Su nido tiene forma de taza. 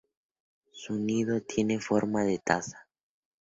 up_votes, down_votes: 4, 0